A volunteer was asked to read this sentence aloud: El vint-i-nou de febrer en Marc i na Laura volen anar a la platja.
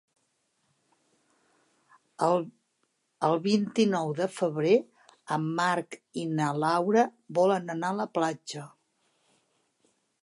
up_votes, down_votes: 2, 3